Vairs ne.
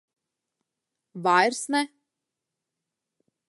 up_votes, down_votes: 2, 0